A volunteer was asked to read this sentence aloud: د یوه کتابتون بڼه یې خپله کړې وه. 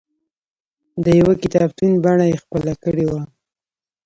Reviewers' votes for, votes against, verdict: 1, 2, rejected